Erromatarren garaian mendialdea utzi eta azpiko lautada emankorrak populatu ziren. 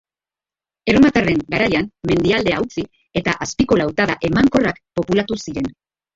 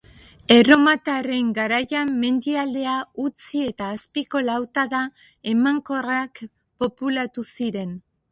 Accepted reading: second